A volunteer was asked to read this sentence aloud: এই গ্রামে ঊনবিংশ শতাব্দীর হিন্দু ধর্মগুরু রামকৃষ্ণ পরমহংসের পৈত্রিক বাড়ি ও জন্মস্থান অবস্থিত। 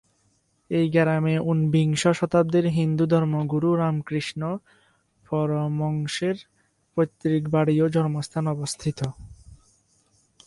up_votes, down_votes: 0, 4